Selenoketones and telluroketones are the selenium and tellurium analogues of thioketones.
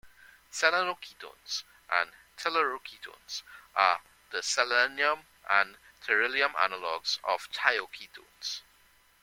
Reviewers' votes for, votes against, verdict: 0, 2, rejected